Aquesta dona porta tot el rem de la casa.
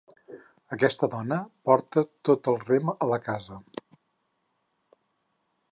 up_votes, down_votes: 2, 4